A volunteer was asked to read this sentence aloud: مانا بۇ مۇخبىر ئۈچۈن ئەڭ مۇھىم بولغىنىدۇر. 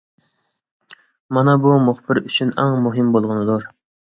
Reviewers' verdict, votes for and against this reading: accepted, 2, 0